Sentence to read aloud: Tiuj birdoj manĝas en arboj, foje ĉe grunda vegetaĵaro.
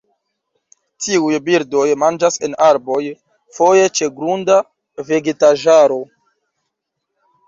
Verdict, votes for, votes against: accepted, 2, 1